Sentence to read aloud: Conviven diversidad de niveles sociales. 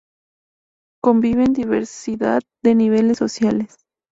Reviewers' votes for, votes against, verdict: 2, 0, accepted